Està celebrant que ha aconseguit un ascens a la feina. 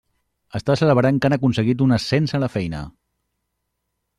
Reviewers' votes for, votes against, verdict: 0, 2, rejected